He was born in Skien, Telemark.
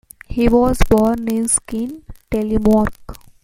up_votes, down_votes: 1, 2